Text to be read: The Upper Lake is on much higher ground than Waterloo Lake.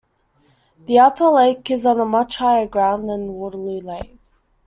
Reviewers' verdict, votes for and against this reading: rejected, 0, 2